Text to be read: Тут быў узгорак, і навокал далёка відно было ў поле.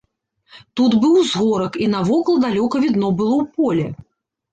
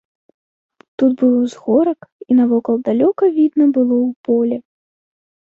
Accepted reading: first